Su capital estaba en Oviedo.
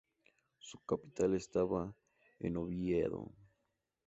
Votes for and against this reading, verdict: 2, 0, accepted